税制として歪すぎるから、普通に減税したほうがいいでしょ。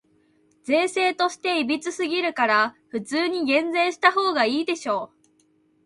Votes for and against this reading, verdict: 2, 0, accepted